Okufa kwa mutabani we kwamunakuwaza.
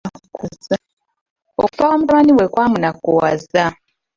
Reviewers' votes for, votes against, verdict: 0, 2, rejected